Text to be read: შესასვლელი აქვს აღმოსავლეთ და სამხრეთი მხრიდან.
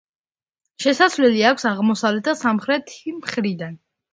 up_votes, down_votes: 2, 0